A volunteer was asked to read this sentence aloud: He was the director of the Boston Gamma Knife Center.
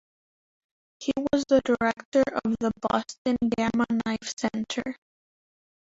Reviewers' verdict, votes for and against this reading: rejected, 1, 2